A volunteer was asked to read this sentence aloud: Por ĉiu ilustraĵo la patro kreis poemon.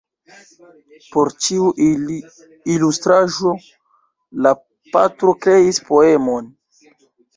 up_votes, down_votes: 1, 2